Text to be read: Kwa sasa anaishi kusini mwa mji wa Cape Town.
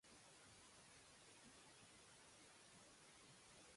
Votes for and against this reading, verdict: 0, 2, rejected